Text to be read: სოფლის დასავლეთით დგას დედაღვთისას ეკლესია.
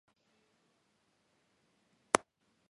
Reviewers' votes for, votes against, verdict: 0, 2, rejected